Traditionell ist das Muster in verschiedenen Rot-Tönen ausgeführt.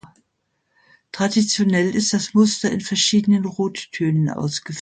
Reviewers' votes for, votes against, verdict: 0, 2, rejected